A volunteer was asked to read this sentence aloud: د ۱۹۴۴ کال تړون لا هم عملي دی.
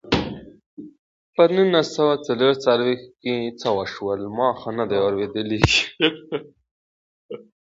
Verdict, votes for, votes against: rejected, 0, 2